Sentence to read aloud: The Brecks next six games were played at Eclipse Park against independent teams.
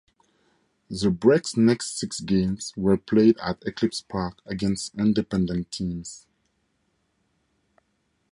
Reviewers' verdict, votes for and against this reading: accepted, 2, 0